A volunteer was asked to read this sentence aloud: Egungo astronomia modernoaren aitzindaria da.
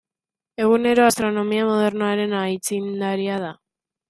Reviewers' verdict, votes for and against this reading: rejected, 0, 2